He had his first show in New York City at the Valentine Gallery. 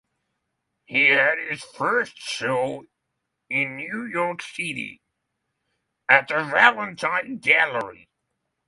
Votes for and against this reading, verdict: 6, 0, accepted